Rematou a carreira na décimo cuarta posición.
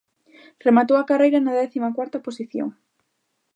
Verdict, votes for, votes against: accepted, 2, 1